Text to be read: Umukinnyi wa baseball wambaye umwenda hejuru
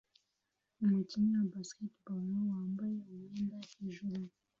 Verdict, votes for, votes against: accepted, 2, 0